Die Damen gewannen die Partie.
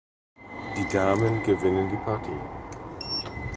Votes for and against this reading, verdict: 0, 2, rejected